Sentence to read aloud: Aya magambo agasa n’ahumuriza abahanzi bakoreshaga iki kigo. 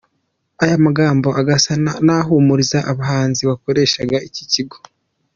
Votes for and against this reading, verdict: 0, 2, rejected